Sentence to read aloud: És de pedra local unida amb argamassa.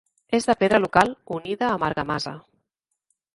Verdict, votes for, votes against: accepted, 3, 0